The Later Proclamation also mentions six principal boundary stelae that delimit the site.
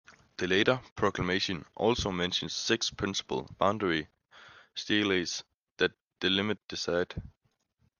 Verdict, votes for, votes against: rejected, 0, 2